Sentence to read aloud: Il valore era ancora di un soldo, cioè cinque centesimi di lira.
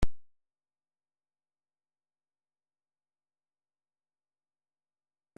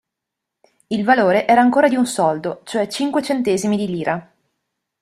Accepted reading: second